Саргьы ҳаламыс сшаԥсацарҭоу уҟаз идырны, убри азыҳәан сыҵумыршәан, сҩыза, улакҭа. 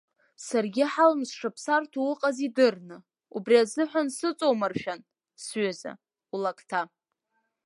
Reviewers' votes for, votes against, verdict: 2, 0, accepted